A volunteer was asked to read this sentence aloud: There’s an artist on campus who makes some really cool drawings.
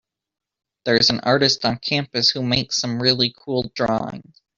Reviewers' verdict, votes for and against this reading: accepted, 3, 0